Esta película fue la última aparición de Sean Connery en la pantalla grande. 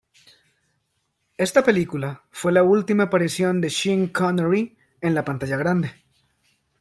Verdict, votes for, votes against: accepted, 2, 0